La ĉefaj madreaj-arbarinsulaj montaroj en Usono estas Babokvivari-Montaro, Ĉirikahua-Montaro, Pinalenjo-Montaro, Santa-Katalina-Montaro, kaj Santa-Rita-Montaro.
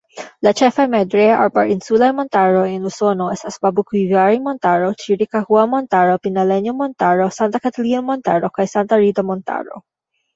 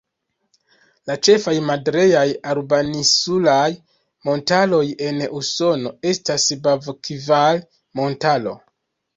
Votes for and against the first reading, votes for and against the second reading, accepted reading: 2, 0, 0, 2, first